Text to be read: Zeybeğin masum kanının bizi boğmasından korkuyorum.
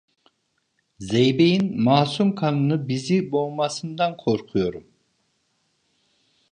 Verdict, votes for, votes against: rejected, 1, 2